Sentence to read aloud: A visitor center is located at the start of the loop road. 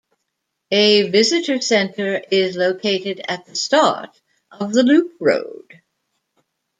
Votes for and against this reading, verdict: 2, 0, accepted